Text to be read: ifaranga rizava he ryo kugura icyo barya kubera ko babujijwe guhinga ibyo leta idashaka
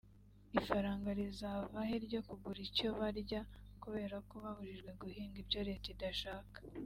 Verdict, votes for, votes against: accepted, 2, 0